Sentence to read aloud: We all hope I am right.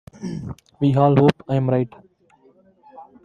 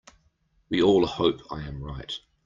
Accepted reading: second